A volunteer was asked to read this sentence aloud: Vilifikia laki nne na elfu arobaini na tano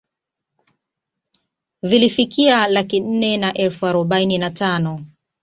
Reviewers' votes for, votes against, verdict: 4, 0, accepted